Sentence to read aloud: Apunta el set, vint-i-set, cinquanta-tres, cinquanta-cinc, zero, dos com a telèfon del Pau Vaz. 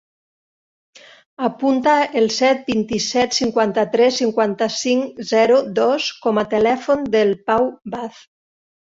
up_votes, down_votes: 3, 0